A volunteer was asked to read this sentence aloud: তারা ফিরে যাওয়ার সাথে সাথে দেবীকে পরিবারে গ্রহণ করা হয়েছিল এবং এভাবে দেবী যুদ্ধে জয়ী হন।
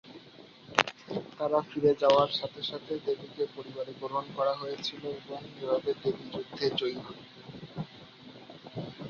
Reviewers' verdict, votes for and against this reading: rejected, 3, 4